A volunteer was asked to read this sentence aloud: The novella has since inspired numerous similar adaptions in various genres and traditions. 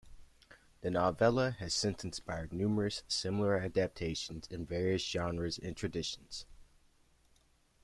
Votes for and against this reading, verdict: 2, 0, accepted